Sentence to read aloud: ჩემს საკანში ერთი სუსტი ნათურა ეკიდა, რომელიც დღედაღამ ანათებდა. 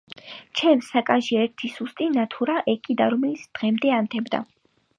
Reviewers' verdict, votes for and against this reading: rejected, 2, 5